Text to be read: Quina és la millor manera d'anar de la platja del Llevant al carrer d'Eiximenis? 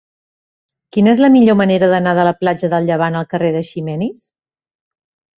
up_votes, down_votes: 2, 0